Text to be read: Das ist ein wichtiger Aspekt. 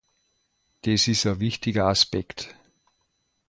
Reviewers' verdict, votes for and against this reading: rejected, 1, 2